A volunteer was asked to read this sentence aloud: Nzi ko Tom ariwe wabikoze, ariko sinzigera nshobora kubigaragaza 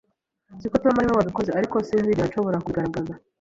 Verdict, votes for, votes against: rejected, 1, 2